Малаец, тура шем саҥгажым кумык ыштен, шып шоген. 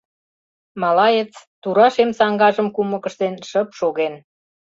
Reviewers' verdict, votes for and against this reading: accepted, 2, 0